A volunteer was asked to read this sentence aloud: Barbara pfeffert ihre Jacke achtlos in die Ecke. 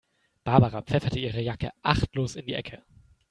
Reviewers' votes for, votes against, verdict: 2, 0, accepted